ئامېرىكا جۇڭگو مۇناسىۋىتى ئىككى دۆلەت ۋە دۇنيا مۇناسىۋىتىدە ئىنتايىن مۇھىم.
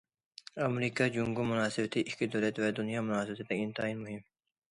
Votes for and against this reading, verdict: 2, 0, accepted